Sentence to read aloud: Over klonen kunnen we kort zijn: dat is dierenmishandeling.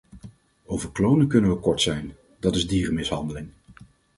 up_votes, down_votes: 4, 0